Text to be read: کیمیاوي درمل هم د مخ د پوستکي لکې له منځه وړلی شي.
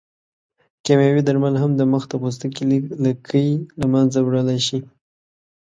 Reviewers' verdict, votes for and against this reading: rejected, 1, 2